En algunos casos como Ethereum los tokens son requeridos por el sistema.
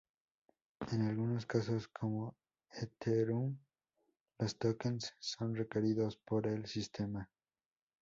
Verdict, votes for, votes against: rejected, 0, 2